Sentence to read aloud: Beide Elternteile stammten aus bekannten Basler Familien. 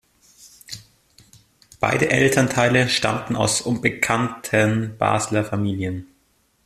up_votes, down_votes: 1, 2